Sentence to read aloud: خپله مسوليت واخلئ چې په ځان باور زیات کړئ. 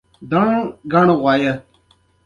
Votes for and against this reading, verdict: 2, 1, accepted